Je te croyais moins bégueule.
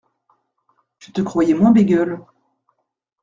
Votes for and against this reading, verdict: 2, 0, accepted